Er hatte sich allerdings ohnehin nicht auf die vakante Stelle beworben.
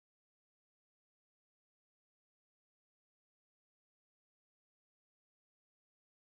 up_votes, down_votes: 0, 4